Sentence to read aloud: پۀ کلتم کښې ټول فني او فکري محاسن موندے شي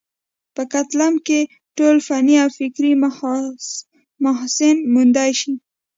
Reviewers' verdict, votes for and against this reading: accepted, 2, 0